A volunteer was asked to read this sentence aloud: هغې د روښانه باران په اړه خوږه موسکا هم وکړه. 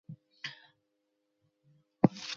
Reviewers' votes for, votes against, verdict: 0, 2, rejected